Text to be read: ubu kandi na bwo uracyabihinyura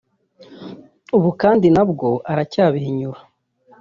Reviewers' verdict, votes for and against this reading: rejected, 0, 2